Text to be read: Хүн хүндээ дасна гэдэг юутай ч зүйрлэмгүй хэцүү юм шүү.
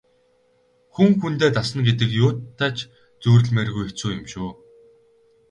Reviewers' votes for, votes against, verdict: 0, 4, rejected